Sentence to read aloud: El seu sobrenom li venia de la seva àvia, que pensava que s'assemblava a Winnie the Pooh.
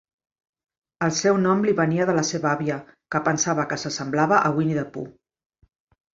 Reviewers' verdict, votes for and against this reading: rejected, 1, 2